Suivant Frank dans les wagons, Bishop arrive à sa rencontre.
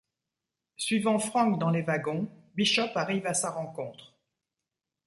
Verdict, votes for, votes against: accepted, 2, 0